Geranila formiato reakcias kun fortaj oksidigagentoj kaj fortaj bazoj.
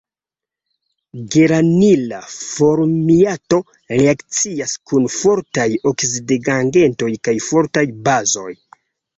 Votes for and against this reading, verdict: 0, 2, rejected